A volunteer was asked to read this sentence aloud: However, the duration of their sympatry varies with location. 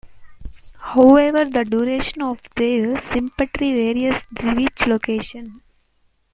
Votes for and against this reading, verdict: 2, 0, accepted